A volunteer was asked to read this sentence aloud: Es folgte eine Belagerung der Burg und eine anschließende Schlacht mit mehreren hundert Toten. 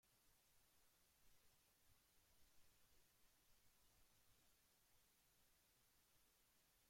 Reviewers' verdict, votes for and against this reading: rejected, 0, 2